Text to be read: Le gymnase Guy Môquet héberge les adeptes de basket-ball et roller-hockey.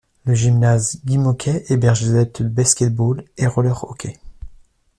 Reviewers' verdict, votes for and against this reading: rejected, 0, 2